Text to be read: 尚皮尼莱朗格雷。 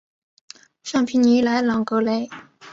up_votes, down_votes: 6, 0